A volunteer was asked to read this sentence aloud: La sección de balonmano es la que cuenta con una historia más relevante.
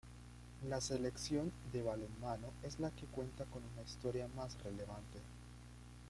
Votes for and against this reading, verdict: 0, 2, rejected